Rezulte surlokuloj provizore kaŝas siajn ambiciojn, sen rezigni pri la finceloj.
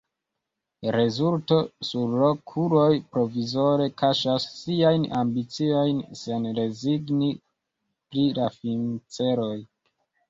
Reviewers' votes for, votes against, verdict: 0, 2, rejected